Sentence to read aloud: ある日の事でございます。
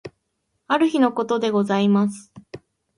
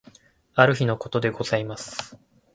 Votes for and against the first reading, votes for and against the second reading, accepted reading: 0, 2, 2, 0, second